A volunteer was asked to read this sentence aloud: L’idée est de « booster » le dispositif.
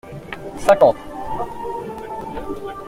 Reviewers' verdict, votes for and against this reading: rejected, 0, 2